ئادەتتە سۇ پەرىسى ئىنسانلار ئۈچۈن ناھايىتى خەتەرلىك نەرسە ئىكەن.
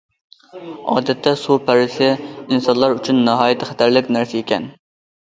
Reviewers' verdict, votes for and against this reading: accepted, 2, 0